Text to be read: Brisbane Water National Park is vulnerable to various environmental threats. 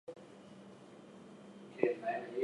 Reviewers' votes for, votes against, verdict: 2, 0, accepted